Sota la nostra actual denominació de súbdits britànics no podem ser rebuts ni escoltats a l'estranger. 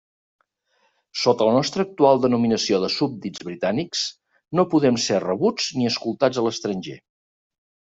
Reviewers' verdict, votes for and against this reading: accepted, 3, 0